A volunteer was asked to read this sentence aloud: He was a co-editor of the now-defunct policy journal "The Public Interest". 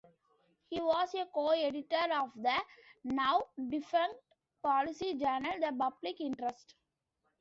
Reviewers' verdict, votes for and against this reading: accepted, 2, 0